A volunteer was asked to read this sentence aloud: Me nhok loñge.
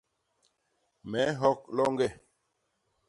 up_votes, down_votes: 2, 0